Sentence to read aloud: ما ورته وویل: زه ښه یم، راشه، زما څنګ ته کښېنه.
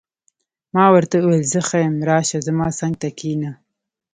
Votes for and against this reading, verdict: 2, 0, accepted